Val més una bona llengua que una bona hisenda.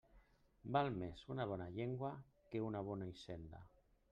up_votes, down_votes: 0, 2